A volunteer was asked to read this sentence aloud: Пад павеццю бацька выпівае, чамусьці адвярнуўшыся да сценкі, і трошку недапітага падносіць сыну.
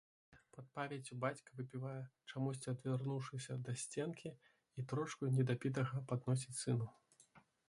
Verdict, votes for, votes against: rejected, 0, 2